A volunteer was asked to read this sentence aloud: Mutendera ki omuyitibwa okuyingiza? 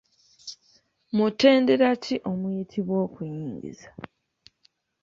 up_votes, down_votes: 2, 1